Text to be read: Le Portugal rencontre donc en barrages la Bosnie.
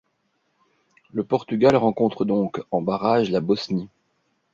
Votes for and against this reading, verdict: 2, 0, accepted